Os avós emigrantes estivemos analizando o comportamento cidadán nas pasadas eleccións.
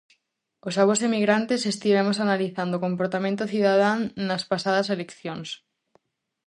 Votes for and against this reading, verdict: 2, 0, accepted